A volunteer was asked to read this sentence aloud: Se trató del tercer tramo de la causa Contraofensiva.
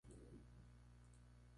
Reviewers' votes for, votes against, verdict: 0, 2, rejected